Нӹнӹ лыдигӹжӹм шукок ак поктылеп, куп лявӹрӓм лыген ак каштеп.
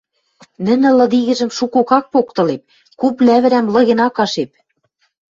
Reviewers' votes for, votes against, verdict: 0, 2, rejected